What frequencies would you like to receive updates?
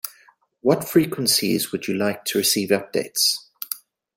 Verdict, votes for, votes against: accepted, 2, 0